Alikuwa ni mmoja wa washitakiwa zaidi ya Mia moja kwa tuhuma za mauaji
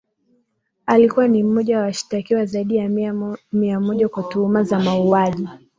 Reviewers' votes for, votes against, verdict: 0, 2, rejected